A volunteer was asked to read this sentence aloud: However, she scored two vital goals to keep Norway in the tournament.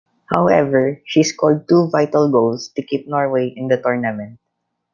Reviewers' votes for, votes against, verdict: 2, 0, accepted